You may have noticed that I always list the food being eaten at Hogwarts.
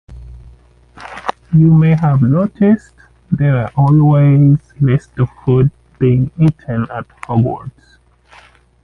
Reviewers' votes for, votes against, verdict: 2, 1, accepted